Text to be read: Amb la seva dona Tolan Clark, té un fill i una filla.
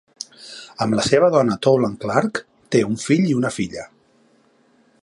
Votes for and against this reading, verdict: 2, 0, accepted